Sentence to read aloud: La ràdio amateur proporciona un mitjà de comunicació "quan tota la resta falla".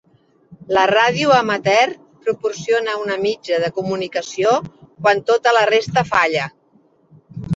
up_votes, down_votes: 2, 3